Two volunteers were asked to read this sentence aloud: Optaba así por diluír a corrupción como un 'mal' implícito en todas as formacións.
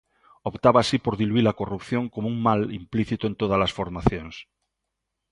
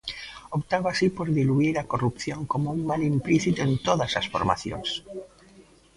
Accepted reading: first